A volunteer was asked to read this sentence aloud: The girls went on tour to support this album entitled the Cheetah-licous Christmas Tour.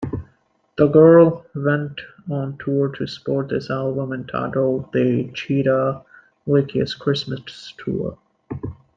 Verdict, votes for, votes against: rejected, 0, 2